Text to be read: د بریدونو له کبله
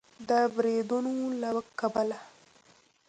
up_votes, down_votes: 3, 0